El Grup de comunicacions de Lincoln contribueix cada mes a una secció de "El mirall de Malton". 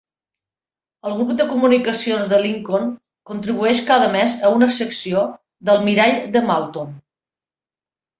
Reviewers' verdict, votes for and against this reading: accepted, 2, 1